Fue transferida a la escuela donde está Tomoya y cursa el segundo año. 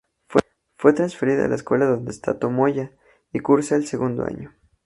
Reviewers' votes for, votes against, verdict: 0, 2, rejected